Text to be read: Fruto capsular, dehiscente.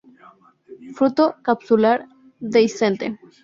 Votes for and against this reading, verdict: 0, 2, rejected